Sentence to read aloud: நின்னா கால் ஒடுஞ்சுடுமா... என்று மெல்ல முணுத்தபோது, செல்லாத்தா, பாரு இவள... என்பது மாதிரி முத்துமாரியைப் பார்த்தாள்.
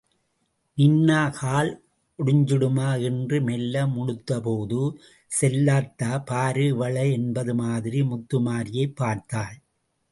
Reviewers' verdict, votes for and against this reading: accepted, 2, 0